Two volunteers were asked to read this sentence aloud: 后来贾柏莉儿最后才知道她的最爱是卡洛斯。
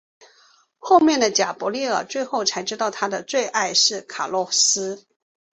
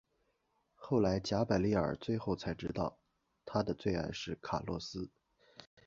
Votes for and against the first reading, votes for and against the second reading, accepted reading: 4, 1, 0, 2, first